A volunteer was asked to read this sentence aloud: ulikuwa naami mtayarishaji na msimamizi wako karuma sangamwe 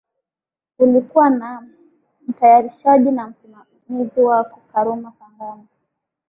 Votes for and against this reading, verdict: 0, 2, rejected